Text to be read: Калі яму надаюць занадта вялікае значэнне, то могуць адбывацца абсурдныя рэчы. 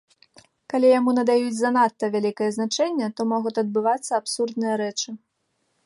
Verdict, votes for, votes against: rejected, 1, 2